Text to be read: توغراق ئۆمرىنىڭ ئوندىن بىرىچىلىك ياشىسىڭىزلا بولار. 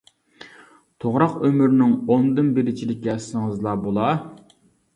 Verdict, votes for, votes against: rejected, 0, 2